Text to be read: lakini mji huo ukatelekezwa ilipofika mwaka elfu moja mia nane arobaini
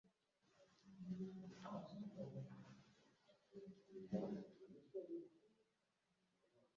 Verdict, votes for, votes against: rejected, 0, 2